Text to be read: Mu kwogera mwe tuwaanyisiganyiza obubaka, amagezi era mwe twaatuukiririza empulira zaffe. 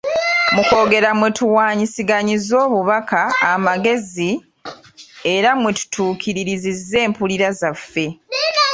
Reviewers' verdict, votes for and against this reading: rejected, 1, 2